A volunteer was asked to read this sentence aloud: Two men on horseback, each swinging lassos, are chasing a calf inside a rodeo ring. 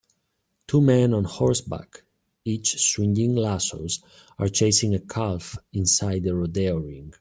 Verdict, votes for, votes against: rejected, 0, 2